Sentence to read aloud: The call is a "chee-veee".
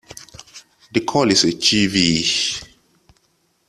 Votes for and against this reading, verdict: 2, 0, accepted